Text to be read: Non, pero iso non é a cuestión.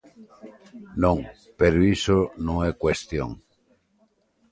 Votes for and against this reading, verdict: 1, 2, rejected